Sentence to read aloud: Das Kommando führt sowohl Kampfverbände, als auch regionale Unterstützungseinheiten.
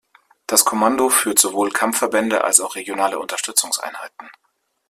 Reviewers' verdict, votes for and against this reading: accepted, 2, 0